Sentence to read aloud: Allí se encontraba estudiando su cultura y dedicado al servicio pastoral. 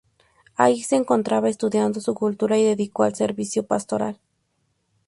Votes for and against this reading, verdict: 0, 2, rejected